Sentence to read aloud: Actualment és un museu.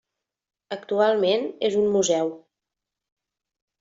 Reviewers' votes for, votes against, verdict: 3, 0, accepted